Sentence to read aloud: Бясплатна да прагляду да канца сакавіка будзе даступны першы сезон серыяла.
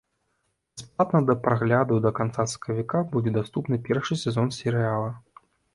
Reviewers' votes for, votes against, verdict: 0, 2, rejected